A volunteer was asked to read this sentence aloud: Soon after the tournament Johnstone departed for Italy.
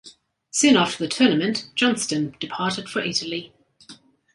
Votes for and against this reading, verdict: 2, 0, accepted